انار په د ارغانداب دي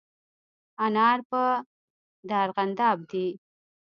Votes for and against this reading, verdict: 0, 2, rejected